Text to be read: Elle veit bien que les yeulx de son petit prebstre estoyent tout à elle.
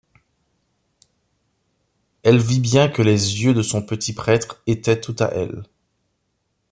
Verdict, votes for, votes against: rejected, 0, 2